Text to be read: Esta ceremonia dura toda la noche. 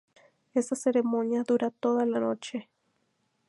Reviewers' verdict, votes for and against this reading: rejected, 0, 2